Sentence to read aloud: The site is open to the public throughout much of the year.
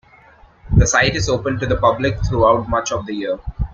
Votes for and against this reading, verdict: 2, 0, accepted